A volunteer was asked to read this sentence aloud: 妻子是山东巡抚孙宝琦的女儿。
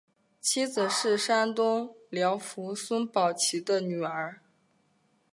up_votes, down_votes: 2, 1